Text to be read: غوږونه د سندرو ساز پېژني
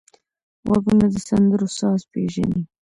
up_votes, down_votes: 2, 1